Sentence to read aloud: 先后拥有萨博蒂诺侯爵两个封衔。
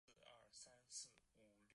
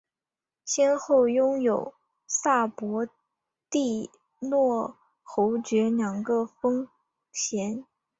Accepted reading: second